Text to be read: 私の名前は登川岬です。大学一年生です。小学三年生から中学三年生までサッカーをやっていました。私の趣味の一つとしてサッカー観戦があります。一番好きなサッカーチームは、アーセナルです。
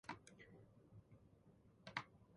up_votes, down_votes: 0, 2